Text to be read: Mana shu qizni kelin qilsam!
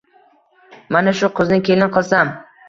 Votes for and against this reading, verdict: 2, 0, accepted